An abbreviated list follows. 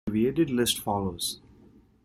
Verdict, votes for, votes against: rejected, 0, 2